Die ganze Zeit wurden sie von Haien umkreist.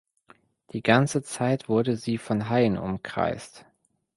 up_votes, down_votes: 1, 2